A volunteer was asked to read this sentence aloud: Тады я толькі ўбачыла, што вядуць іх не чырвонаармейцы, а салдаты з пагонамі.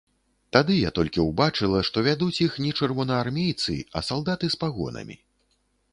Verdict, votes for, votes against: accepted, 2, 0